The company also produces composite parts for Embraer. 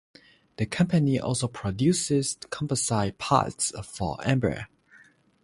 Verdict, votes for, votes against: rejected, 0, 3